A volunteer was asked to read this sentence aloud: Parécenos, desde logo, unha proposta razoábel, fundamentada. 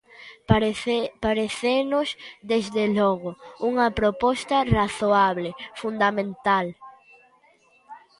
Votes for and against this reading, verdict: 0, 2, rejected